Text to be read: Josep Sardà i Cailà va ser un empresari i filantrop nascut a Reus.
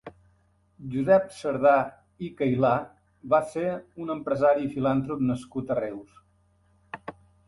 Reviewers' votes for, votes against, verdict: 2, 0, accepted